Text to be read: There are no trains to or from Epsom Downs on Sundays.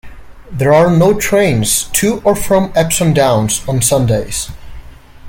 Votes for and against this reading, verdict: 2, 0, accepted